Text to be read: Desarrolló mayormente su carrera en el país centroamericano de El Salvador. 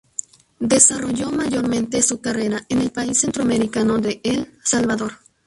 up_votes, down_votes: 0, 2